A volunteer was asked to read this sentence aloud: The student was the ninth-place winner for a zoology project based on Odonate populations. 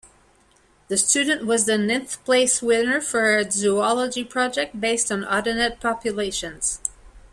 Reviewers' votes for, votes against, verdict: 1, 2, rejected